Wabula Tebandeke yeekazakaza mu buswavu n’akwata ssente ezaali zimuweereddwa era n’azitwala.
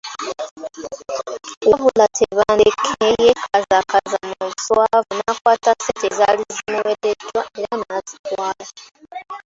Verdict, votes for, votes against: rejected, 0, 2